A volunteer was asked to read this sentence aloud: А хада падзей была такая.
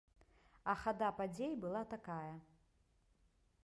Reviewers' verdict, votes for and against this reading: accepted, 2, 0